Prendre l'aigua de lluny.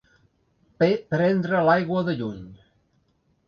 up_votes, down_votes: 0, 2